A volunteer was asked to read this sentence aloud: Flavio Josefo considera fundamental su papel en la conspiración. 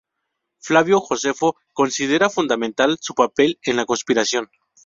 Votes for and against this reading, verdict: 4, 0, accepted